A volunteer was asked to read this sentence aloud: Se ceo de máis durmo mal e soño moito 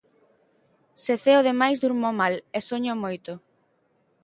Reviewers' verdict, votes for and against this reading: accepted, 3, 0